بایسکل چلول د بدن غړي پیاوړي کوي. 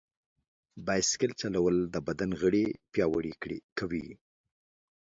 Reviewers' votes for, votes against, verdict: 2, 1, accepted